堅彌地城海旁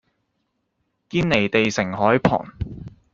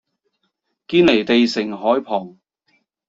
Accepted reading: second